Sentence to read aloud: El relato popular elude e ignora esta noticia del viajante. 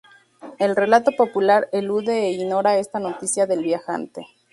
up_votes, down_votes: 0, 2